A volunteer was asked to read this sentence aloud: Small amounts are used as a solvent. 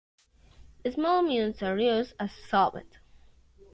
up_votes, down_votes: 0, 2